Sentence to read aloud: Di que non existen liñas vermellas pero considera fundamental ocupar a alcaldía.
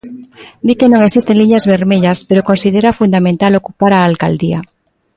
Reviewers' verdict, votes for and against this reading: accepted, 2, 0